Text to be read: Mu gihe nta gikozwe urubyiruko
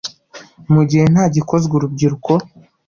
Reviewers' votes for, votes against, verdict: 2, 0, accepted